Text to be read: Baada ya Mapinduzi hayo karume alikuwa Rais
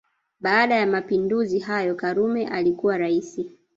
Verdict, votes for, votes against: rejected, 0, 2